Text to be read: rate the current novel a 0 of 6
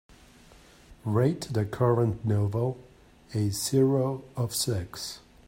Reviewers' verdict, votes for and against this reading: rejected, 0, 2